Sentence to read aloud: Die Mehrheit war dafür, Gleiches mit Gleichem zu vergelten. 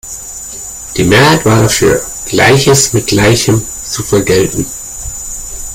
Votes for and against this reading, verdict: 2, 1, accepted